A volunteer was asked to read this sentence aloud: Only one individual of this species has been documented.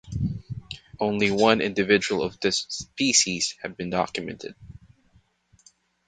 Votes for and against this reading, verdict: 1, 2, rejected